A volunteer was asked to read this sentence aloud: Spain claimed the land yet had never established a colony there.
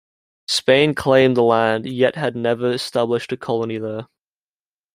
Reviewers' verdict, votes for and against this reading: accepted, 2, 0